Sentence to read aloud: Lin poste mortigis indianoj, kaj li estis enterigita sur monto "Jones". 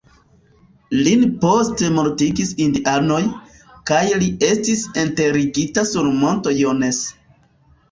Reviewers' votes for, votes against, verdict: 0, 2, rejected